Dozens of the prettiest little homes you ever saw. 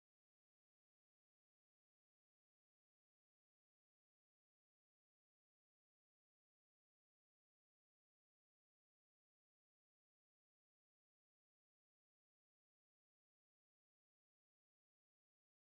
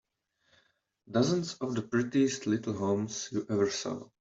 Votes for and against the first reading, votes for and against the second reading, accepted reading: 0, 2, 2, 0, second